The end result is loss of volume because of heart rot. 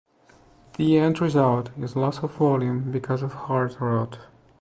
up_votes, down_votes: 2, 0